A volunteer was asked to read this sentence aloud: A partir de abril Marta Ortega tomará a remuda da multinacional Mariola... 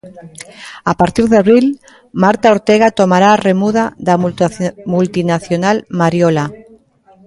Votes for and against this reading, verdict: 0, 2, rejected